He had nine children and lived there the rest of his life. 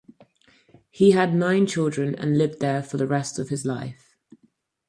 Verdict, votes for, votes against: rejected, 0, 4